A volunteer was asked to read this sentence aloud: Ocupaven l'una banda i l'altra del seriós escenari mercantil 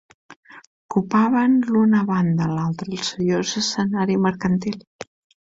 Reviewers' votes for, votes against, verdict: 1, 2, rejected